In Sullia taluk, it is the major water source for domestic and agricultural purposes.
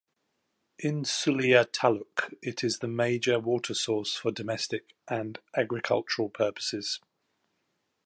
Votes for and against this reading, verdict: 2, 0, accepted